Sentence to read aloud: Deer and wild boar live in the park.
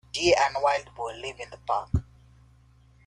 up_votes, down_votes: 2, 0